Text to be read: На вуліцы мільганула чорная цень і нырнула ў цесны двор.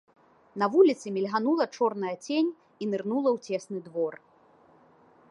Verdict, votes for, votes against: accepted, 2, 0